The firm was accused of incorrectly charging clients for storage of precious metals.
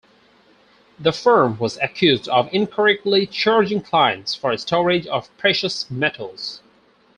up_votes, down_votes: 2, 2